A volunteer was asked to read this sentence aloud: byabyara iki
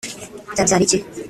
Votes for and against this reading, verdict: 2, 1, accepted